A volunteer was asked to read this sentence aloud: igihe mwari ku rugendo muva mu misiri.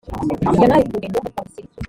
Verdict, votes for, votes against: rejected, 0, 2